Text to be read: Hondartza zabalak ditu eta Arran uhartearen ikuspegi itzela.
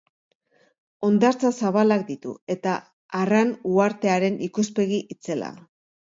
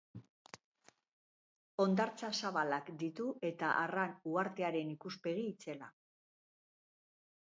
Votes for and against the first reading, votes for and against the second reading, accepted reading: 2, 0, 0, 2, first